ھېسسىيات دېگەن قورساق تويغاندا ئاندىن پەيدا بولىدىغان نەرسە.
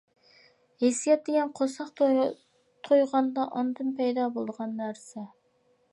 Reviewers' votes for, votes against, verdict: 2, 0, accepted